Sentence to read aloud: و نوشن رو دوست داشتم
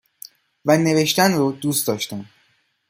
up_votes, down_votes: 1, 2